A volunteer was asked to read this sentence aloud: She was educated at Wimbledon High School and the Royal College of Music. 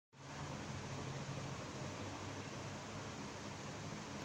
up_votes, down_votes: 0, 2